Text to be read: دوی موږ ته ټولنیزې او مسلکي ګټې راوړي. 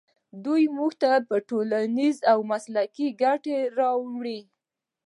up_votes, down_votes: 2, 1